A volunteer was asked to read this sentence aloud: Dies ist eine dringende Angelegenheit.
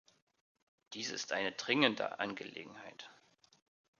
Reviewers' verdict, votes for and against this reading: accepted, 2, 0